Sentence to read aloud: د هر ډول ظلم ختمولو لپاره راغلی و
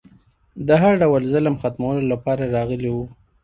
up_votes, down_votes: 2, 1